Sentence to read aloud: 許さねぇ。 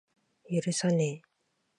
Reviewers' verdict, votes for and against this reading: accepted, 2, 0